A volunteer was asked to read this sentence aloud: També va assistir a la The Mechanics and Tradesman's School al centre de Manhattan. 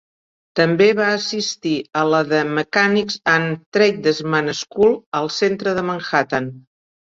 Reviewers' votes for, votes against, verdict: 2, 0, accepted